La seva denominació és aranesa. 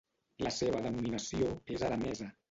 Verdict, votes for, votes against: accepted, 2, 0